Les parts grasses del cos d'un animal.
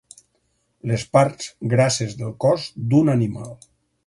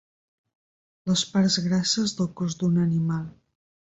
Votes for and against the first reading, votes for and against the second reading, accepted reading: 4, 0, 2, 4, first